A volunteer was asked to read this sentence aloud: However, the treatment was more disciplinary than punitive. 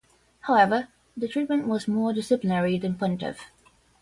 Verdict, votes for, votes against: accepted, 10, 0